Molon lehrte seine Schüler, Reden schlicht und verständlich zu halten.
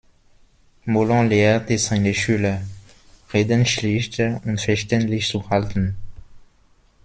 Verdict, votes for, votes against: rejected, 0, 2